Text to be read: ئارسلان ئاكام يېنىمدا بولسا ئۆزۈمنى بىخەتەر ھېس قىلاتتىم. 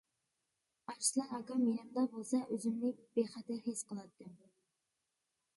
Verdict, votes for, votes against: rejected, 0, 2